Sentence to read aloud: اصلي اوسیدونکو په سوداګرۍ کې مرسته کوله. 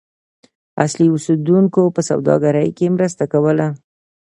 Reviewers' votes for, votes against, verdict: 2, 0, accepted